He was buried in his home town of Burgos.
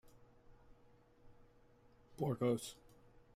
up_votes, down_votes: 0, 2